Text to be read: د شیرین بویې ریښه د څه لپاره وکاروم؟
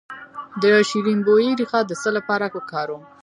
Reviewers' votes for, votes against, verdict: 2, 0, accepted